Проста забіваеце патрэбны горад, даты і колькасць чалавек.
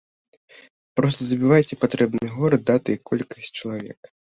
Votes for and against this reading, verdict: 2, 0, accepted